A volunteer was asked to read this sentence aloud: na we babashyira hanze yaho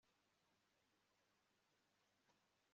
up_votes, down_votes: 2, 1